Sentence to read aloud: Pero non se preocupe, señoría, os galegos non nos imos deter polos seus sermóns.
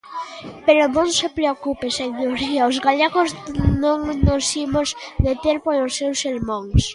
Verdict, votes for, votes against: rejected, 0, 2